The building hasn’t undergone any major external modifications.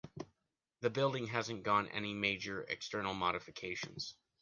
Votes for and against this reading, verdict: 0, 2, rejected